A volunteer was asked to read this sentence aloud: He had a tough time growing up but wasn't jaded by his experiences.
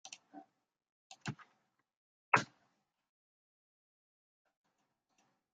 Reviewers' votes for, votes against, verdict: 0, 2, rejected